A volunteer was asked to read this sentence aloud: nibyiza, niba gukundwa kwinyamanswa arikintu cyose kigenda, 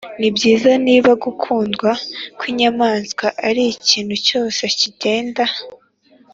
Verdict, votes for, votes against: accepted, 2, 0